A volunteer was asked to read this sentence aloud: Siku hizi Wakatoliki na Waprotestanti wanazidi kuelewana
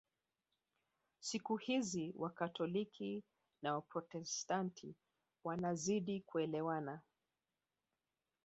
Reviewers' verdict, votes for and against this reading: accepted, 2, 0